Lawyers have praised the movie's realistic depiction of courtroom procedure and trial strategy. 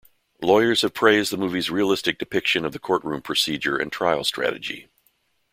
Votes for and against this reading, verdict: 2, 0, accepted